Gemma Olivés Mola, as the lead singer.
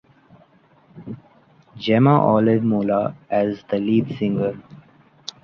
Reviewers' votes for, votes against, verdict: 2, 1, accepted